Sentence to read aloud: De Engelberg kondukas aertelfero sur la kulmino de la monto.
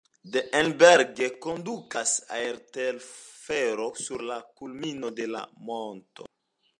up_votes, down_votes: 2, 0